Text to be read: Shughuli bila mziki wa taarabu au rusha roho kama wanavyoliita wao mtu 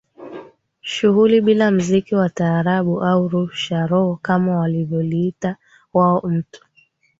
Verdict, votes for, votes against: accepted, 2, 0